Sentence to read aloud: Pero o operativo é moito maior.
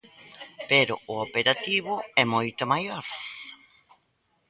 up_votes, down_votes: 2, 0